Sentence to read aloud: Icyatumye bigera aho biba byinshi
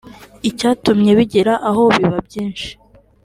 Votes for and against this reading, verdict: 2, 0, accepted